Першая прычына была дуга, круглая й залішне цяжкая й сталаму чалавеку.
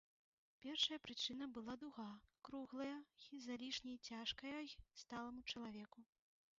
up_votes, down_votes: 0, 2